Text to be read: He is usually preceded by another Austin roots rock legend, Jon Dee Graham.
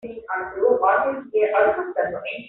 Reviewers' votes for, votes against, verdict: 0, 2, rejected